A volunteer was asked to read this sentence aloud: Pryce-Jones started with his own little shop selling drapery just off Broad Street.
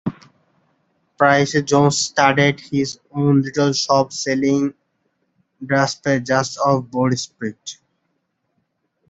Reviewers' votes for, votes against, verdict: 0, 2, rejected